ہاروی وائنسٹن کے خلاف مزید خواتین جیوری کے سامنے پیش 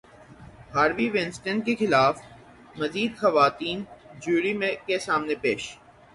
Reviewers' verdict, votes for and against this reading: rejected, 3, 3